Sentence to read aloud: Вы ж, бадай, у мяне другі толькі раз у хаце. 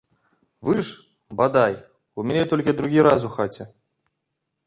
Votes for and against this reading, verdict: 0, 2, rejected